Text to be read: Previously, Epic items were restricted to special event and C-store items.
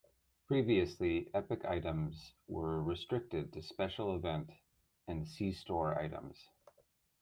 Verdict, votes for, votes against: accepted, 2, 0